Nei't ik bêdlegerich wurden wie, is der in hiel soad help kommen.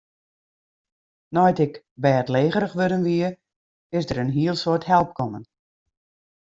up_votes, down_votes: 2, 0